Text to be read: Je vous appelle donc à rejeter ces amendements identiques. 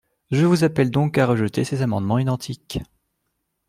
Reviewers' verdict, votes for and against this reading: accepted, 2, 0